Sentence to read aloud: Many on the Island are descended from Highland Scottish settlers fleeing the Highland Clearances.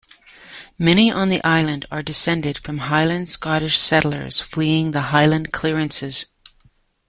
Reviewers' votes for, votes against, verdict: 2, 1, accepted